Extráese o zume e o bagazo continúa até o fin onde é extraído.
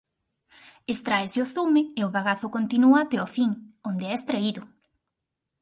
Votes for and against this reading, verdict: 4, 0, accepted